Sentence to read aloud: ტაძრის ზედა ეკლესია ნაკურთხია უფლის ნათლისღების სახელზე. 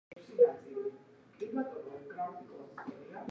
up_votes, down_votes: 0, 2